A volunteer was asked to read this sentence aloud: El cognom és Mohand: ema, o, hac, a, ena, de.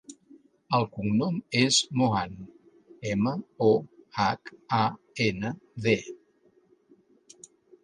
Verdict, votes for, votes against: accepted, 3, 0